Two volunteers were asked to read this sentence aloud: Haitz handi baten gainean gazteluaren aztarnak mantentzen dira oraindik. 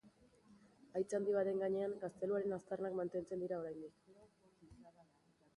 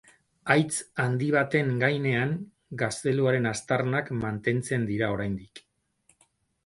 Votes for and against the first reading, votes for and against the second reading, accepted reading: 2, 0, 2, 2, first